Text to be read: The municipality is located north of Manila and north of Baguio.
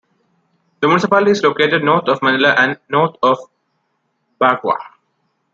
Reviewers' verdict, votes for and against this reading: rejected, 0, 2